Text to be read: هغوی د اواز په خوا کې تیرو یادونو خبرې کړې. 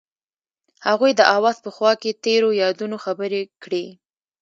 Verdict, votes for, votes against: accepted, 2, 0